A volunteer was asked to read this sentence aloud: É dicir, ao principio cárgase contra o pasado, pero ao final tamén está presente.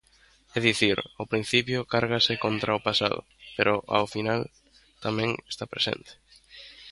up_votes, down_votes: 2, 0